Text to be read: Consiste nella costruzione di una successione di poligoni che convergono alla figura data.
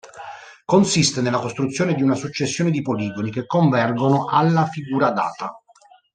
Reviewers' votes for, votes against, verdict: 2, 0, accepted